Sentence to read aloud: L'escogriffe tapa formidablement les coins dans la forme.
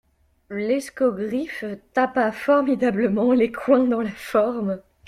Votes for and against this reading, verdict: 1, 2, rejected